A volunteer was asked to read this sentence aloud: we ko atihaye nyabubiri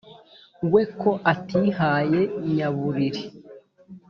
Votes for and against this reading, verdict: 2, 0, accepted